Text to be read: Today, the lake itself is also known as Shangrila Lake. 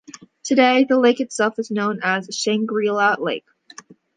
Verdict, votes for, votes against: accepted, 2, 1